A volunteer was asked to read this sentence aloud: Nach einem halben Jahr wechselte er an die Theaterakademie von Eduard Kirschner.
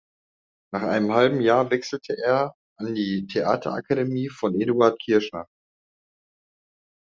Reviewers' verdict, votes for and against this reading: accepted, 2, 0